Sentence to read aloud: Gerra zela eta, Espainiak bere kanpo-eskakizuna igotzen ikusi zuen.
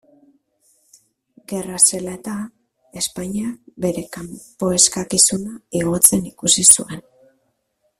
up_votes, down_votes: 1, 2